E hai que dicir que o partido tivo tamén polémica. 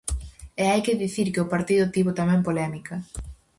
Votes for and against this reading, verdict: 4, 0, accepted